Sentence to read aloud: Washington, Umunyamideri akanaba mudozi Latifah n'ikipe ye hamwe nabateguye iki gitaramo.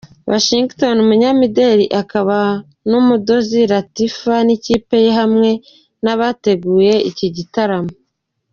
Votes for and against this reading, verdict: 2, 0, accepted